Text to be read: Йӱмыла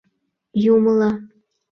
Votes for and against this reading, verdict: 0, 2, rejected